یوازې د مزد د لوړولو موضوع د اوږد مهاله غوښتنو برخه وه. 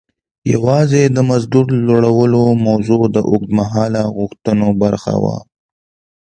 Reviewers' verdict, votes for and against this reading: accepted, 2, 0